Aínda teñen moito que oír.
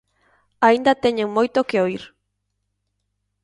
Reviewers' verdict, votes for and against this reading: accepted, 2, 0